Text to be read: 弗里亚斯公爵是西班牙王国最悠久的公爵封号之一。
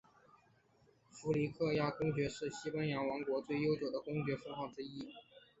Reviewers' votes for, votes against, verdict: 3, 0, accepted